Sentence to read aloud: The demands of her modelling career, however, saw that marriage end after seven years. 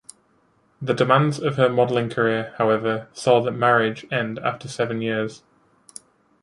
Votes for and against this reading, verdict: 0, 2, rejected